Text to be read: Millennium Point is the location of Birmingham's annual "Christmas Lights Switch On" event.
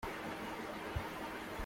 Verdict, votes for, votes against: rejected, 0, 2